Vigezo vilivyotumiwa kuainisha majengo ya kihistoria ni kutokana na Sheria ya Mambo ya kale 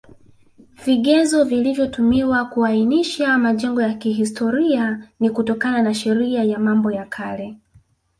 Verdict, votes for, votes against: rejected, 1, 2